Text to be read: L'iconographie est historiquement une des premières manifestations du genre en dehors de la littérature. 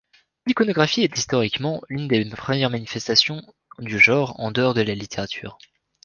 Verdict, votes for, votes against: accepted, 3, 1